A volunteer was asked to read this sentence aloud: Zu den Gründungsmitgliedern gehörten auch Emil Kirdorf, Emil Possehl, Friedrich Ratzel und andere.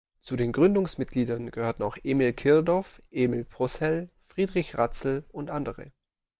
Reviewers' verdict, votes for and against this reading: accepted, 2, 0